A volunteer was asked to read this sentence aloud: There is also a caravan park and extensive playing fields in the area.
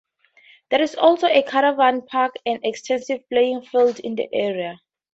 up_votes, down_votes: 2, 0